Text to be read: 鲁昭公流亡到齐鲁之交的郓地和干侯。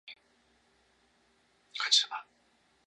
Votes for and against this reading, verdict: 1, 2, rejected